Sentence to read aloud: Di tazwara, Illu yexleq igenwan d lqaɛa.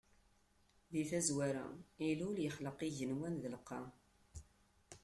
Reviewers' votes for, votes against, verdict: 1, 2, rejected